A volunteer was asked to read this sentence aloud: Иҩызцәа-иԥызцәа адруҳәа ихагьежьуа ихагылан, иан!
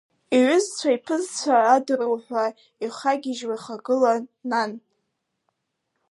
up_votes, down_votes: 0, 2